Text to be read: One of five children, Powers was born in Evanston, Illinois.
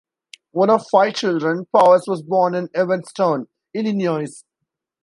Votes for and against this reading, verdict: 2, 1, accepted